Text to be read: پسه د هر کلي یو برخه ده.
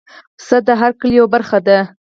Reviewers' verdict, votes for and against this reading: accepted, 4, 0